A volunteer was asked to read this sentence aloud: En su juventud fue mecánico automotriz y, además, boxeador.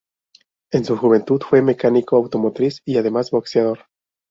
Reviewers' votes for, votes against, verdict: 2, 2, rejected